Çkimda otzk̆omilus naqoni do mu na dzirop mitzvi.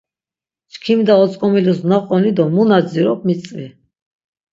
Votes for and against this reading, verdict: 6, 0, accepted